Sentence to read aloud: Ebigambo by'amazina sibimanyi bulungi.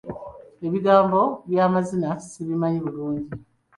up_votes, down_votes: 2, 0